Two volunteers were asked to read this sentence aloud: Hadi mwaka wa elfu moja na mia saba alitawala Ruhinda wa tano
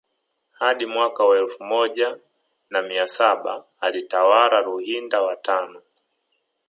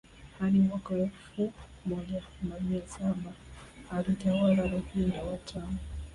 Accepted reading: second